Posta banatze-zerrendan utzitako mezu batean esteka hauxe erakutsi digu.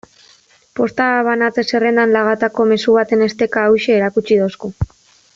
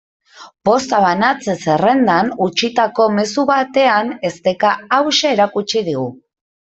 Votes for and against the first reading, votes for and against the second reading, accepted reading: 1, 2, 2, 0, second